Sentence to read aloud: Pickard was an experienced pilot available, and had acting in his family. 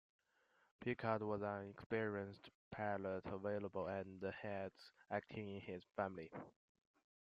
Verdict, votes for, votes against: rejected, 1, 2